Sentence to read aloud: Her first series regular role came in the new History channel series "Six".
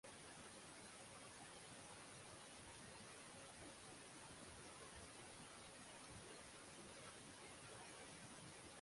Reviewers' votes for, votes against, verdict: 0, 6, rejected